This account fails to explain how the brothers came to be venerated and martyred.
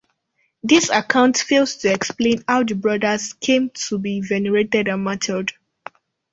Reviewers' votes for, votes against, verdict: 1, 2, rejected